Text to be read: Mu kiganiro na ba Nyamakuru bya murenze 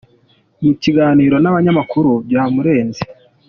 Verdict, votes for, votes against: accepted, 2, 0